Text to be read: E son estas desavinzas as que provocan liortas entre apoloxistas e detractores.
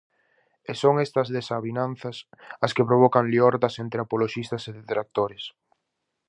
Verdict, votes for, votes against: rejected, 0, 4